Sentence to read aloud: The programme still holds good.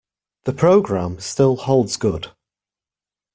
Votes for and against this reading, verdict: 2, 0, accepted